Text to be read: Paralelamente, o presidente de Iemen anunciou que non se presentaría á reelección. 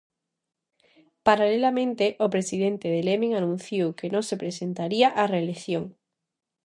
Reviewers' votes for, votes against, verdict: 0, 2, rejected